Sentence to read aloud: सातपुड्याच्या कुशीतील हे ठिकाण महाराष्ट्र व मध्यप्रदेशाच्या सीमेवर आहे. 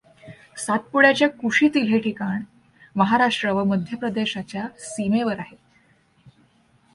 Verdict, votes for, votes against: accepted, 2, 1